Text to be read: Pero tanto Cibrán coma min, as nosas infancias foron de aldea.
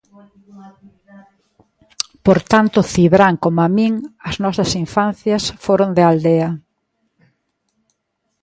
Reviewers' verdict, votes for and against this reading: rejected, 0, 2